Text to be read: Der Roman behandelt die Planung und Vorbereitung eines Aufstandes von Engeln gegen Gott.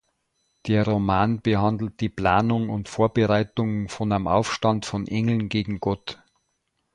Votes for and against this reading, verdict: 0, 2, rejected